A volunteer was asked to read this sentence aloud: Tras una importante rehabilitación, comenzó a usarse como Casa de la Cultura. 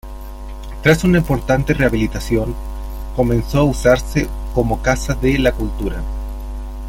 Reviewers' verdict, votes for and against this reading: rejected, 0, 2